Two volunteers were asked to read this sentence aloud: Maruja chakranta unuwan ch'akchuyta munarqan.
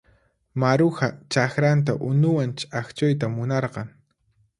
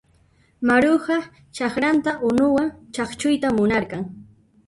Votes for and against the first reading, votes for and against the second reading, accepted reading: 4, 0, 1, 2, first